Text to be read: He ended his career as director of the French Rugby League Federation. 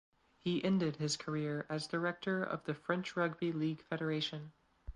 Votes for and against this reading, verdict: 2, 0, accepted